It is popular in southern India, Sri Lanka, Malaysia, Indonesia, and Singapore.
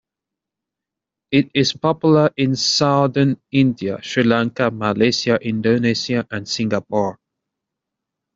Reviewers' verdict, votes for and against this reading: accepted, 2, 0